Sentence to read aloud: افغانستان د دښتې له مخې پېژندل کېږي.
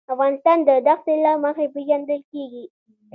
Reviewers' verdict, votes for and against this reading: accepted, 2, 0